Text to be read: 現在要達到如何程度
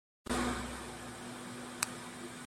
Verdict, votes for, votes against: rejected, 0, 2